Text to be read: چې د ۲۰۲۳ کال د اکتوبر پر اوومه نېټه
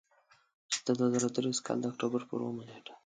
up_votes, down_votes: 0, 2